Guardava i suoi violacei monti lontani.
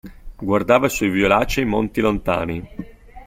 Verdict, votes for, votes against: accepted, 2, 1